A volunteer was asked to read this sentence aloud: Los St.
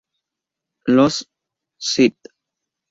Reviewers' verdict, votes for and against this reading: rejected, 0, 2